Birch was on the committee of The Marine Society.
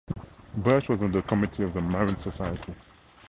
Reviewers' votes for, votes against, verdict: 2, 0, accepted